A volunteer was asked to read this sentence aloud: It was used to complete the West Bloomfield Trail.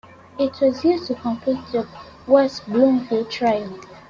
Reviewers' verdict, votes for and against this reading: accepted, 2, 1